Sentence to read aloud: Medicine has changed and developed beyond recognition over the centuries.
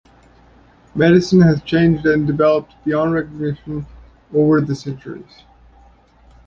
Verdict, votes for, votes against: accepted, 2, 0